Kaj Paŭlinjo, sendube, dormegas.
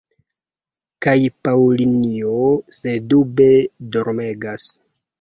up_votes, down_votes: 2, 0